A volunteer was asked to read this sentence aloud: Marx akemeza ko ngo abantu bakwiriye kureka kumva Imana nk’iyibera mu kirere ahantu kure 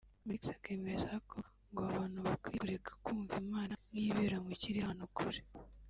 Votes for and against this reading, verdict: 0, 2, rejected